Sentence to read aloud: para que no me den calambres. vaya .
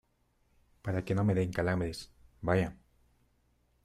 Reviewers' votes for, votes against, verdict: 2, 0, accepted